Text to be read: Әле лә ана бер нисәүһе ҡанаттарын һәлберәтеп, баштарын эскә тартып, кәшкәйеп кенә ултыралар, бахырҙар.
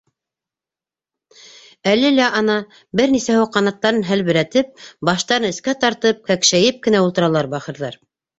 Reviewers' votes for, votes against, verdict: 0, 2, rejected